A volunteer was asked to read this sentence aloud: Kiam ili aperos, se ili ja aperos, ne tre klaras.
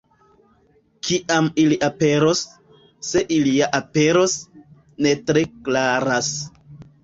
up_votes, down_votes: 2, 0